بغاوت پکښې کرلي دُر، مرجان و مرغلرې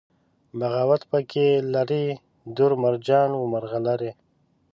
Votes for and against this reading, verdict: 1, 2, rejected